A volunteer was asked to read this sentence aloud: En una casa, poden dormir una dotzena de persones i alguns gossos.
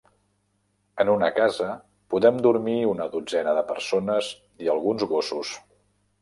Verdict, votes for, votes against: rejected, 1, 2